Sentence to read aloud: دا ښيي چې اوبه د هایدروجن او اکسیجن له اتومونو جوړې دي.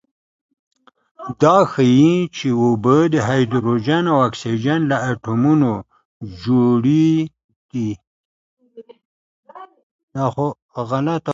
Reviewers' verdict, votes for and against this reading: accepted, 2, 1